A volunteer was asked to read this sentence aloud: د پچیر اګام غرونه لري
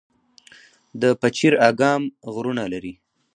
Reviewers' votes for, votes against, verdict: 2, 0, accepted